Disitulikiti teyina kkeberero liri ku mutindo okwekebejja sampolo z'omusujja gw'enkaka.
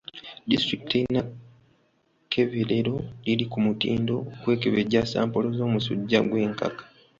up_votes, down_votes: 1, 2